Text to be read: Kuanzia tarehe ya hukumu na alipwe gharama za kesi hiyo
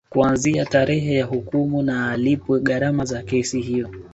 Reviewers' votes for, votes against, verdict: 4, 0, accepted